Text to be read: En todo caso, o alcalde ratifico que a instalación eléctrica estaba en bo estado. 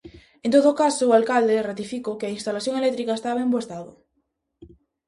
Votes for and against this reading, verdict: 2, 0, accepted